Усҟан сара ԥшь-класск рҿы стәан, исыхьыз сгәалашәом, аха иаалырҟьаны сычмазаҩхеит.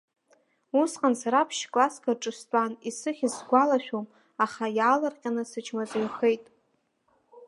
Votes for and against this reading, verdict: 3, 1, accepted